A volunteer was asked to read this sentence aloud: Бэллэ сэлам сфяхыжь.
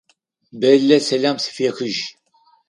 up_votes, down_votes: 2, 4